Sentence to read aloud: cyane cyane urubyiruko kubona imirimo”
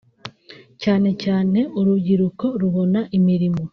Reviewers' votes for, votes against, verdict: 0, 2, rejected